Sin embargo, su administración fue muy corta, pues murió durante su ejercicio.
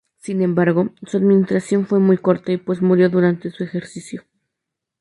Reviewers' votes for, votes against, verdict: 2, 0, accepted